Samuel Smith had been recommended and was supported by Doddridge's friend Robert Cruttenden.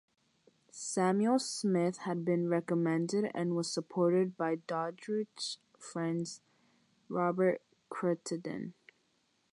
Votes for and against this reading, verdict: 0, 6, rejected